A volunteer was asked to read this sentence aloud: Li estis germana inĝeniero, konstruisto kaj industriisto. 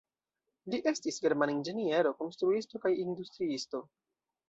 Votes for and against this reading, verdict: 2, 1, accepted